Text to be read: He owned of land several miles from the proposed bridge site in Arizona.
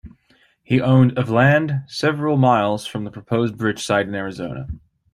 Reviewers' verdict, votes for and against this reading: rejected, 0, 2